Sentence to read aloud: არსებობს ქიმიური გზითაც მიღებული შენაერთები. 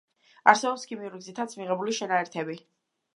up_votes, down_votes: 2, 0